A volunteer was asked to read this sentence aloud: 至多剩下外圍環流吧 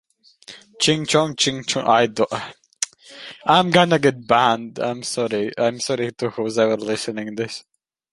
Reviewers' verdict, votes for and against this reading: rejected, 0, 2